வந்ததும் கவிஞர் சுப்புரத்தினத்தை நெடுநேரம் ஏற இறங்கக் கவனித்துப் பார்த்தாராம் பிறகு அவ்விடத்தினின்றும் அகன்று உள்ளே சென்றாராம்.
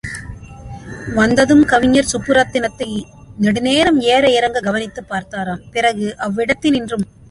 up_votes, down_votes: 0, 2